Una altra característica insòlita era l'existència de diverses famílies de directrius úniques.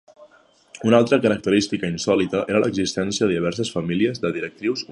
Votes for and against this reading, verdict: 0, 2, rejected